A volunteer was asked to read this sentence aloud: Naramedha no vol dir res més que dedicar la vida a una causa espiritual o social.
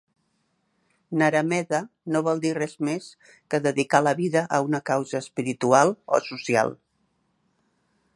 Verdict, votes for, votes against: accepted, 3, 0